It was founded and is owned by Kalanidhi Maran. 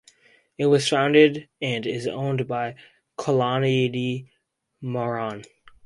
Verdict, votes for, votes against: accepted, 2, 0